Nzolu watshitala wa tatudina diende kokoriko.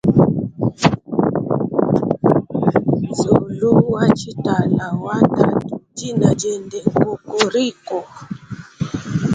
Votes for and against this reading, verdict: 1, 2, rejected